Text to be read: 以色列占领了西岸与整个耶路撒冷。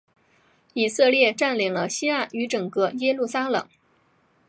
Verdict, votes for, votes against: accepted, 2, 0